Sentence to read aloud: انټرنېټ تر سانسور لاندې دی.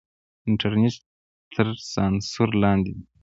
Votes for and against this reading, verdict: 1, 2, rejected